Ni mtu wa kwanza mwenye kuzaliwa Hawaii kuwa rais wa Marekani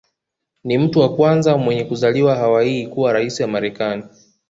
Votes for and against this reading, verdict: 2, 0, accepted